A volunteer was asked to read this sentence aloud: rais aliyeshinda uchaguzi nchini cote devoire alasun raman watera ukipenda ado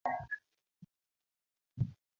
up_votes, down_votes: 1, 3